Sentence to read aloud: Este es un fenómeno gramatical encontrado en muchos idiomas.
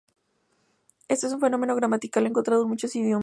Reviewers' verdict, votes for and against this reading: rejected, 0, 6